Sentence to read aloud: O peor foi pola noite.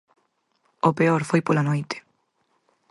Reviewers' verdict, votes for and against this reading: accepted, 4, 0